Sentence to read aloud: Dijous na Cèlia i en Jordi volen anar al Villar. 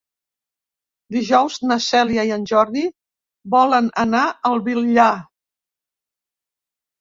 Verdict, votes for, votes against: rejected, 0, 2